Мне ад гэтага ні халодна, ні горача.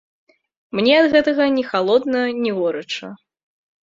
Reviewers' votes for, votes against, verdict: 2, 0, accepted